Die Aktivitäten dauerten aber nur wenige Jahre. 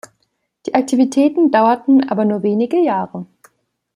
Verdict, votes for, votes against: accepted, 2, 0